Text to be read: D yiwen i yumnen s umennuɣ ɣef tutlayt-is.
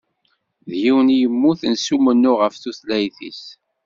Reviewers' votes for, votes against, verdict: 1, 2, rejected